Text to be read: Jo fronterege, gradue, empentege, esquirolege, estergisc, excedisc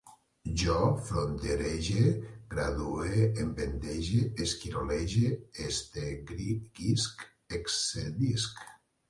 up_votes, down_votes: 0, 2